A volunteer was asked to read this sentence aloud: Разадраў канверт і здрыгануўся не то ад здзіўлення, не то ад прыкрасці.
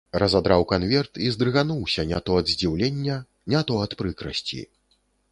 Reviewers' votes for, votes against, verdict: 2, 0, accepted